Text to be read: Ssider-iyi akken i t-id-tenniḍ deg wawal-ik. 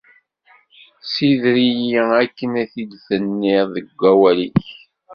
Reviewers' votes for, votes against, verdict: 2, 0, accepted